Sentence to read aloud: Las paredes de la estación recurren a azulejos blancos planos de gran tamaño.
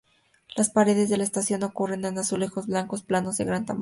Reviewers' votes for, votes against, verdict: 0, 2, rejected